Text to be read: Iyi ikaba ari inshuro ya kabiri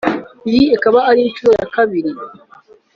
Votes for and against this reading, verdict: 2, 0, accepted